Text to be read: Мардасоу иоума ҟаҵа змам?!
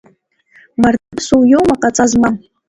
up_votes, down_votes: 2, 1